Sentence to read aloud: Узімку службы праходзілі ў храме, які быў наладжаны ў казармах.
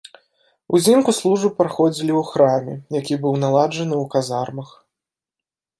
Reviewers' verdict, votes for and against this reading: accepted, 2, 0